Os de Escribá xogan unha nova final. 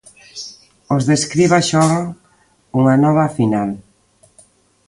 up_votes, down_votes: 1, 2